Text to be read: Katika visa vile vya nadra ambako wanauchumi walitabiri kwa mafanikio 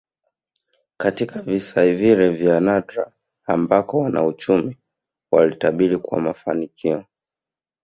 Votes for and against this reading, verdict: 0, 2, rejected